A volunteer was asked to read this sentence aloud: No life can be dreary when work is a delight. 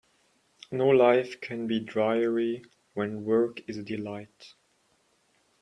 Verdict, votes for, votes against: rejected, 1, 2